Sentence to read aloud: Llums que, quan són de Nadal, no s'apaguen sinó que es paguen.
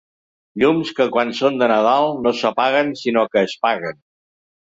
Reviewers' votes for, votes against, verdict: 4, 0, accepted